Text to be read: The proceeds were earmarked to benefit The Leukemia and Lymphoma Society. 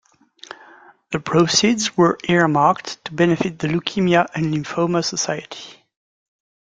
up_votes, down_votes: 2, 0